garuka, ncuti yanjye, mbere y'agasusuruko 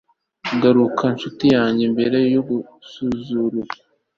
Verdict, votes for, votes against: rejected, 0, 2